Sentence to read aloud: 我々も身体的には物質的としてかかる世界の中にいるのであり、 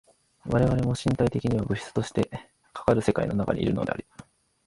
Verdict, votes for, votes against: rejected, 1, 2